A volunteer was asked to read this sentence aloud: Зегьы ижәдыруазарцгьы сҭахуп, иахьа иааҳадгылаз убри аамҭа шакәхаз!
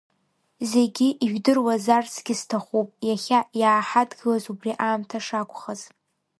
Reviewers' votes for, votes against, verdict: 0, 2, rejected